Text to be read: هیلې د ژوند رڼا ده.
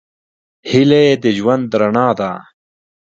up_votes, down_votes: 2, 1